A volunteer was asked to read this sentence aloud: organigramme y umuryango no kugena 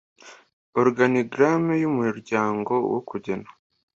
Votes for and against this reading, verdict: 2, 0, accepted